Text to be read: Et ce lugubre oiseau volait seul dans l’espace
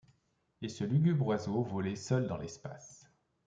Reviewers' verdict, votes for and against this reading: accepted, 2, 0